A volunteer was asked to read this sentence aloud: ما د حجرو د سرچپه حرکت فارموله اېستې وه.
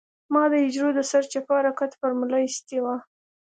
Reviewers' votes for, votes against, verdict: 2, 0, accepted